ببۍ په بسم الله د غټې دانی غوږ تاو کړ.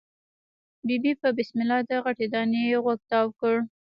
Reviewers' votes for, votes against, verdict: 2, 0, accepted